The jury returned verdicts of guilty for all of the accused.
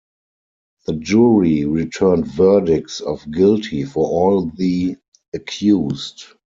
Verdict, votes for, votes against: accepted, 4, 0